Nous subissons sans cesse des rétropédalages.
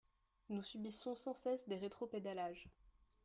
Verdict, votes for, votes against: accepted, 3, 1